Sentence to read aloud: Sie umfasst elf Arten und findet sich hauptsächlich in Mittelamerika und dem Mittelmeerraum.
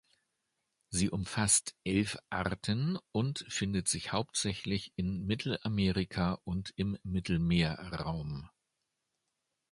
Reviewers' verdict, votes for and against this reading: rejected, 1, 2